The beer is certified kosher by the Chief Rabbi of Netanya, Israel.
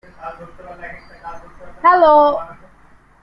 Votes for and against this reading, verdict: 0, 2, rejected